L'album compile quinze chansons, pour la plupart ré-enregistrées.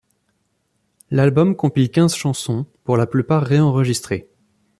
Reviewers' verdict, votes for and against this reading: accepted, 2, 0